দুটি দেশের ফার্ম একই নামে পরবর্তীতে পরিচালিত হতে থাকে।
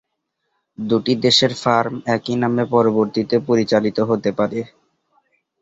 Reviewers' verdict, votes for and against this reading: rejected, 0, 3